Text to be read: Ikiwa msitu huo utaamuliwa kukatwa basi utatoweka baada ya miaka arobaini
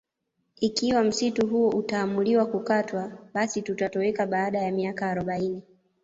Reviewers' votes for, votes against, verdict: 1, 2, rejected